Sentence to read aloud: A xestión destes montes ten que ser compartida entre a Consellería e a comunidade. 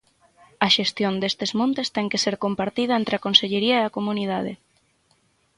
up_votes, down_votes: 6, 0